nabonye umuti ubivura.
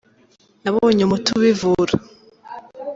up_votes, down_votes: 2, 1